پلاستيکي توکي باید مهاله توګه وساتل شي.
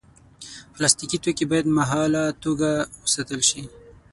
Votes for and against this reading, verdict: 6, 0, accepted